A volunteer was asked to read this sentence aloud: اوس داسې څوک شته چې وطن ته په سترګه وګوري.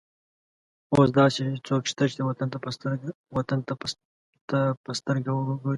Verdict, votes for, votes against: rejected, 1, 2